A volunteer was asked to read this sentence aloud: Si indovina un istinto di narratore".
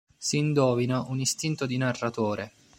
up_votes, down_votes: 0, 2